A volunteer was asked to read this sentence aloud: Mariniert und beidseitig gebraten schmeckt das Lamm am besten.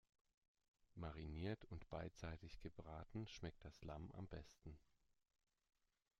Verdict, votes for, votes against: accepted, 2, 0